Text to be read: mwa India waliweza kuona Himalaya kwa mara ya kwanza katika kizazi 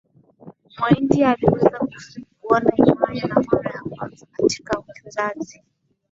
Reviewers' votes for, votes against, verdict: 1, 2, rejected